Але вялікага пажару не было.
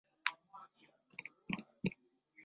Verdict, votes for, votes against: rejected, 0, 2